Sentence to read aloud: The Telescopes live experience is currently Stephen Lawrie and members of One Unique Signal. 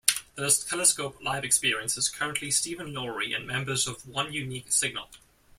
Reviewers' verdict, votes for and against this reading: rejected, 0, 2